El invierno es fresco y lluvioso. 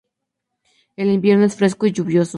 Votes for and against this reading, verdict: 2, 0, accepted